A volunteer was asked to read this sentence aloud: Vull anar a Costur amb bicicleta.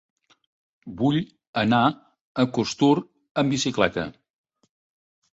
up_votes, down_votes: 2, 0